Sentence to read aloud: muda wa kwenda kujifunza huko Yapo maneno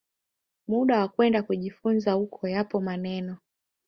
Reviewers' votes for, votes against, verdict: 2, 1, accepted